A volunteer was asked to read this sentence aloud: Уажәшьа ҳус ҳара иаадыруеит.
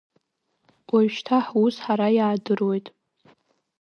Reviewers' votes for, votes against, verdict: 1, 2, rejected